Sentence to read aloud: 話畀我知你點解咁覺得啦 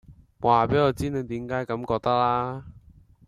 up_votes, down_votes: 2, 0